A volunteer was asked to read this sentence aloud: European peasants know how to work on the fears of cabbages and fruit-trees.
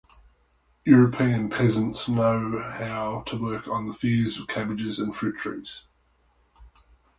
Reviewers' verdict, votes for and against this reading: rejected, 2, 2